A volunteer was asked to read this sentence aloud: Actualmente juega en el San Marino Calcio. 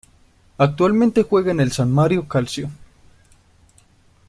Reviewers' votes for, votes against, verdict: 1, 2, rejected